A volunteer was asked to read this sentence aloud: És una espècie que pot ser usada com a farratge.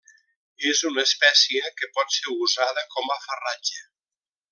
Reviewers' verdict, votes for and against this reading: accepted, 2, 0